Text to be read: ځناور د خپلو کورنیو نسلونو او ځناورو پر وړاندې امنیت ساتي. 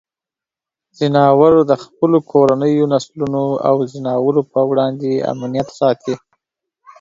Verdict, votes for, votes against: accepted, 2, 0